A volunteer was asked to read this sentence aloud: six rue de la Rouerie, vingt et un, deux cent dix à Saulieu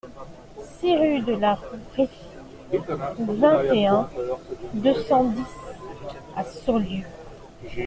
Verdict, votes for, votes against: rejected, 0, 2